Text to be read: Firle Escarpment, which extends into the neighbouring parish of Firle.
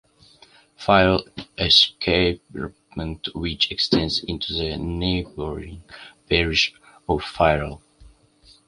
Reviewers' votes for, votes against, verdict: 1, 2, rejected